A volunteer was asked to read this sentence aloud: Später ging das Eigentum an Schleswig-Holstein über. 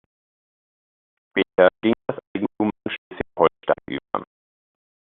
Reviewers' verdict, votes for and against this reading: rejected, 0, 2